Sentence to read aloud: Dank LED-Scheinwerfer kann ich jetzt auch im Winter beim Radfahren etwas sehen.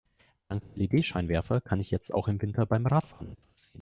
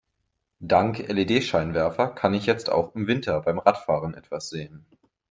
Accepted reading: second